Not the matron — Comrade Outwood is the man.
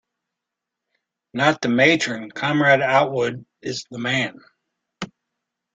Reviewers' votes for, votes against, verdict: 2, 0, accepted